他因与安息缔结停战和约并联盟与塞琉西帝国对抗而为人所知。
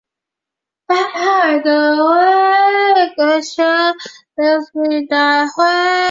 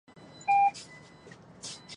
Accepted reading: first